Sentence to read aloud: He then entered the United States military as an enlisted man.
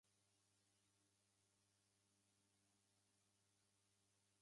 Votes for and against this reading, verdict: 1, 2, rejected